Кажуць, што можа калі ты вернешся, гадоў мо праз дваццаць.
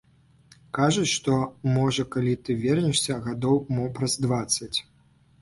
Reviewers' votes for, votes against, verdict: 2, 0, accepted